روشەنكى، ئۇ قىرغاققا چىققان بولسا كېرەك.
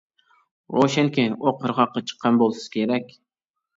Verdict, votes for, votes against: rejected, 1, 2